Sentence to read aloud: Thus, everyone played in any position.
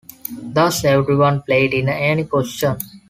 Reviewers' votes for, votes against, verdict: 2, 0, accepted